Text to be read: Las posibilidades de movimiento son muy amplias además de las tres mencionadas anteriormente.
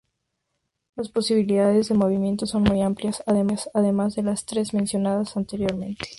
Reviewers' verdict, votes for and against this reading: accepted, 2, 0